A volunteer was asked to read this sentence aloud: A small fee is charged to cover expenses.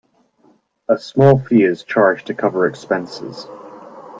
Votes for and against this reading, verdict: 2, 0, accepted